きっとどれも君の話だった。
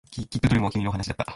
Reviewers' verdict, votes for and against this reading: rejected, 3, 4